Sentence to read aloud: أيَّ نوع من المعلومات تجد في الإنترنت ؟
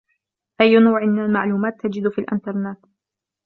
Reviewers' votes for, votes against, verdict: 2, 1, accepted